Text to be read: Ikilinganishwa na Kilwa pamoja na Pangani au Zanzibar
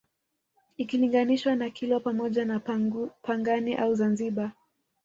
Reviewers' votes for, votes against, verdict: 2, 0, accepted